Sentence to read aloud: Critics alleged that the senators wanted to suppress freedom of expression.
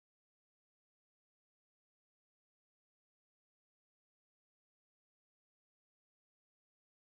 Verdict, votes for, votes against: rejected, 0, 2